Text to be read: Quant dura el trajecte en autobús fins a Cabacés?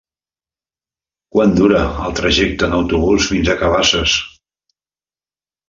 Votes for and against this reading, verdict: 1, 2, rejected